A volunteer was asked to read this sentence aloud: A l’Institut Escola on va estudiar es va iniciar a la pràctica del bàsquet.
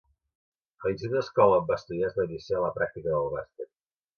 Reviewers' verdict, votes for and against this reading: rejected, 0, 2